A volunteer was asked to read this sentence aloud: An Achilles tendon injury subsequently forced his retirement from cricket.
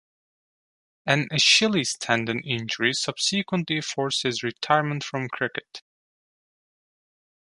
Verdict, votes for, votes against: rejected, 1, 3